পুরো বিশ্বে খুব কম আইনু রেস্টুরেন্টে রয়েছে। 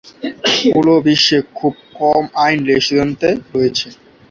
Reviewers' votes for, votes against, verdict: 1, 15, rejected